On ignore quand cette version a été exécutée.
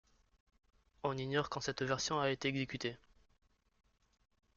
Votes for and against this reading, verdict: 0, 2, rejected